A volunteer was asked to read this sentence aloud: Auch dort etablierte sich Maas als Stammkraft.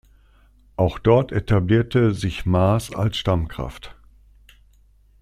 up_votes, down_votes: 2, 0